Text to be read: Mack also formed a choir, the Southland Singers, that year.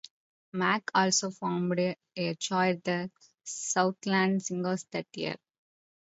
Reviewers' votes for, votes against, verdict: 0, 2, rejected